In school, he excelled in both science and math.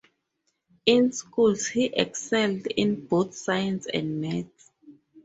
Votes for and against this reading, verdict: 0, 2, rejected